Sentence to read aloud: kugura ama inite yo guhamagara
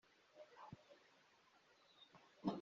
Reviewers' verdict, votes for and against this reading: rejected, 0, 2